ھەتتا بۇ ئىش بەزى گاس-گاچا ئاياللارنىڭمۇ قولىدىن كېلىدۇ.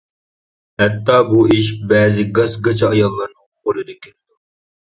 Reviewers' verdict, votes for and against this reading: rejected, 0, 2